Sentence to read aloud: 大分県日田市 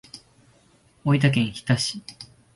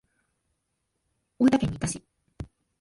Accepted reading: first